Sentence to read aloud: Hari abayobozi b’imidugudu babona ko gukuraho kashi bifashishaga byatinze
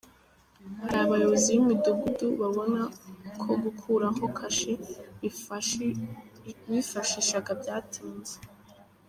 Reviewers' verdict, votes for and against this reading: rejected, 0, 3